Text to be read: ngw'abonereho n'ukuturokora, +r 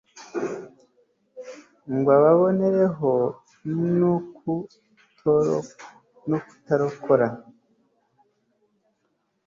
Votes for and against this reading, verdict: 1, 3, rejected